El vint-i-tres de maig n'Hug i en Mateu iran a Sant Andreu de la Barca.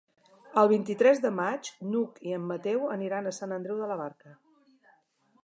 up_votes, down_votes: 0, 2